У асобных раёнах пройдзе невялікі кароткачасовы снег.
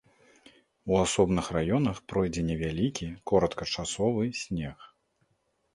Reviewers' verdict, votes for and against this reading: rejected, 0, 2